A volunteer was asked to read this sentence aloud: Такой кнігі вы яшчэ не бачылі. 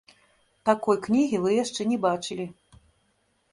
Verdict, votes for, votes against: rejected, 0, 2